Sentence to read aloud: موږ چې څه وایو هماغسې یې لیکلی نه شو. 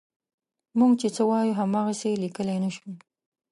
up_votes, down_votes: 2, 0